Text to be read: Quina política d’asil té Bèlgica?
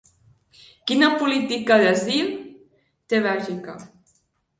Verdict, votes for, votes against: rejected, 2, 3